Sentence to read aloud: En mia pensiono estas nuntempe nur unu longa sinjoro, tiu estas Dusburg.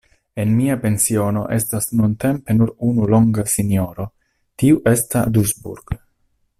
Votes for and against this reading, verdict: 2, 1, accepted